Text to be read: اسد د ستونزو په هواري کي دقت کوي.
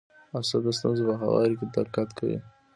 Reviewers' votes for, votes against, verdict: 2, 0, accepted